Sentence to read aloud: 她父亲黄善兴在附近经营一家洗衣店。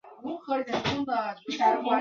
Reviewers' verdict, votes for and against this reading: rejected, 1, 2